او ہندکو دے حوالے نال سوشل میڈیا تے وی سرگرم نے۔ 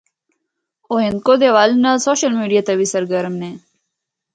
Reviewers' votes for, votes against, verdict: 2, 0, accepted